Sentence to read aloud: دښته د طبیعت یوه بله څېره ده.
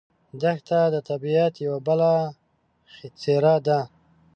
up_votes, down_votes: 2, 0